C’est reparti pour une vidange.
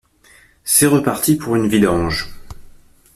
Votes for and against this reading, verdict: 2, 0, accepted